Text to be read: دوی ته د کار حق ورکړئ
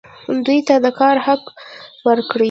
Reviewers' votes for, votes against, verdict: 0, 2, rejected